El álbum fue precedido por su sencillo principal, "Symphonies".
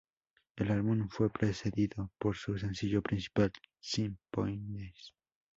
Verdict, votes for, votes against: rejected, 0, 2